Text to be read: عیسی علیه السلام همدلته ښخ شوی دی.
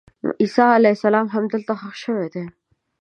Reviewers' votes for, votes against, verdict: 2, 0, accepted